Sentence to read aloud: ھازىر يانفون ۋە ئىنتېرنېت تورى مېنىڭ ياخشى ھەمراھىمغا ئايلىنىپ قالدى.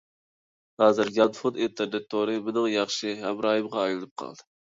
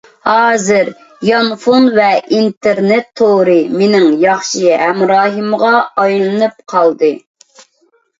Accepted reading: second